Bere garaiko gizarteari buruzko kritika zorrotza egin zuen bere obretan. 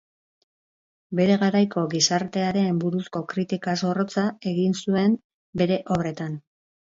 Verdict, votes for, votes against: accepted, 2, 0